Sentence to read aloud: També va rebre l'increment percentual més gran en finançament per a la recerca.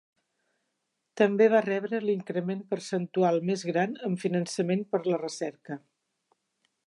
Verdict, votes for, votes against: rejected, 1, 2